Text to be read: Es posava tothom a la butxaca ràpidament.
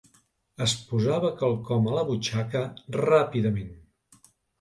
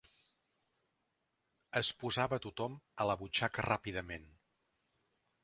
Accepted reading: second